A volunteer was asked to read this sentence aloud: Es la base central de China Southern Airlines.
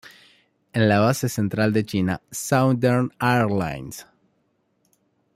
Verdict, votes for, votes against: rejected, 1, 2